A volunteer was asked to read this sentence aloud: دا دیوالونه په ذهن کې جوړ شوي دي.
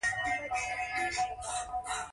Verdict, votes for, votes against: rejected, 0, 2